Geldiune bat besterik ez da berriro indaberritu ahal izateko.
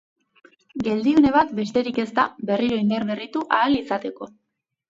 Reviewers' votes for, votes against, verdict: 2, 0, accepted